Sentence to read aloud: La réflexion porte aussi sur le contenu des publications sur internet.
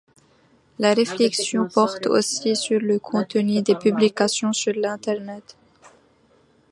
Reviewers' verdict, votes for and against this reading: rejected, 1, 2